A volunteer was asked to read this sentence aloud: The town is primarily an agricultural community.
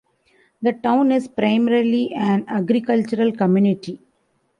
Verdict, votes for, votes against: accepted, 2, 1